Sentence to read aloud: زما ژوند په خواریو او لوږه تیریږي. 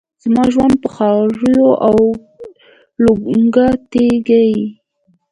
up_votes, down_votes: 2, 1